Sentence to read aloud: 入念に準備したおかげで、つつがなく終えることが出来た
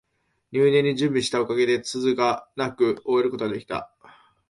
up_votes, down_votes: 3, 0